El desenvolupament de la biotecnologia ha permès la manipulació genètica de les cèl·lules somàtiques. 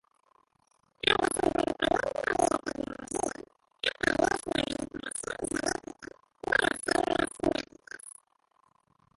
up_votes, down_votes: 0, 3